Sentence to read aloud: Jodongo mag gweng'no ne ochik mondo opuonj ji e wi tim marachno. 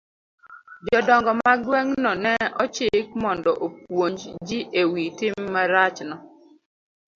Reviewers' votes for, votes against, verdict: 2, 0, accepted